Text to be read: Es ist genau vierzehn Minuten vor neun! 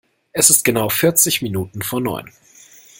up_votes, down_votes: 0, 2